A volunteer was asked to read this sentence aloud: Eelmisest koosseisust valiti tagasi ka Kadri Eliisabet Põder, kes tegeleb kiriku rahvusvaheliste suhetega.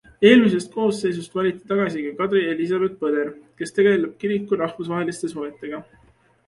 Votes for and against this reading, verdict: 3, 0, accepted